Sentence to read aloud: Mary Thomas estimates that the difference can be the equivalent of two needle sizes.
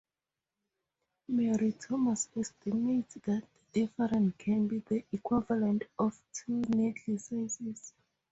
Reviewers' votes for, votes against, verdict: 2, 0, accepted